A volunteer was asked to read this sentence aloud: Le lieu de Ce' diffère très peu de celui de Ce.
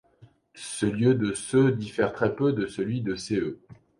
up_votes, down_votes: 1, 2